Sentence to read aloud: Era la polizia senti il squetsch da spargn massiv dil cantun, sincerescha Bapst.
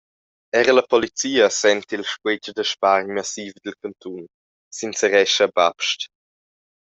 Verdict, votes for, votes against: accepted, 2, 1